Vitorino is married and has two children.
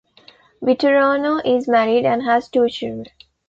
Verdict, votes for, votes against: rejected, 1, 2